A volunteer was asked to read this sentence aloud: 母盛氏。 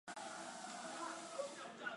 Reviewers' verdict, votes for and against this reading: rejected, 3, 4